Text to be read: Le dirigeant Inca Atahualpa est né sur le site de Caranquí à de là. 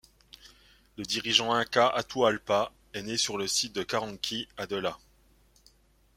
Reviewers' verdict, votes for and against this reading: rejected, 0, 2